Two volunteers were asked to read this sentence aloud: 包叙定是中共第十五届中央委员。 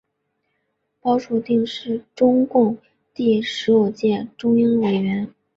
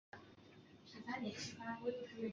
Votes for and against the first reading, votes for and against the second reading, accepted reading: 3, 0, 0, 3, first